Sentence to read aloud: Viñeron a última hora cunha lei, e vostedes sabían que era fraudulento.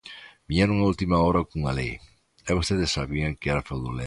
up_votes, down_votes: 2, 1